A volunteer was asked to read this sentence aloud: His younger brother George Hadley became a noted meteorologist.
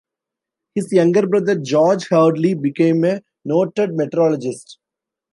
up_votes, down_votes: 2, 0